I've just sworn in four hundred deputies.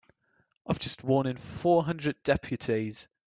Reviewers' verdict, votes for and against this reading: accepted, 2, 0